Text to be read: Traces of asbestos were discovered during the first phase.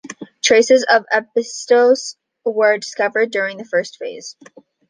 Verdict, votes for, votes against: rejected, 0, 2